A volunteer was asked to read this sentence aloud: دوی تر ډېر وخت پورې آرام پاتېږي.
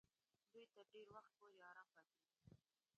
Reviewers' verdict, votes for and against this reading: rejected, 0, 2